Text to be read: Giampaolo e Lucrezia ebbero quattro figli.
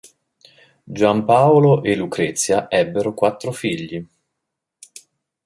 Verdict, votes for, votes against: accepted, 2, 0